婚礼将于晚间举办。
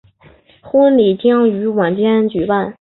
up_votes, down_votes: 5, 0